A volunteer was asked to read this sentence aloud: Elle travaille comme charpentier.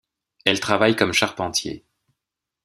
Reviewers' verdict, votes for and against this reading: accepted, 2, 0